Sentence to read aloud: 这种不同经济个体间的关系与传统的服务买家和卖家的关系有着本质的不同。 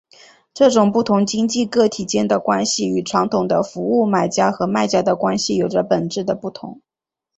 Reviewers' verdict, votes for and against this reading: accepted, 2, 0